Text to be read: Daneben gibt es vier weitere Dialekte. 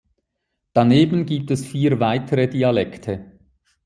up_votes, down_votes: 2, 0